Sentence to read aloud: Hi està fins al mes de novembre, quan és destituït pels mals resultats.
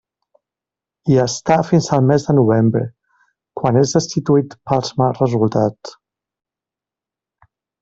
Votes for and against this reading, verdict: 2, 0, accepted